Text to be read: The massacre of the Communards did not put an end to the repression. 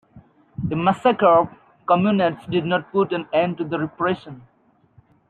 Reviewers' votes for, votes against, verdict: 0, 2, rejected